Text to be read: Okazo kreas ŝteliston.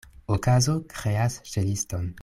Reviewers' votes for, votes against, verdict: 1, 2, rejected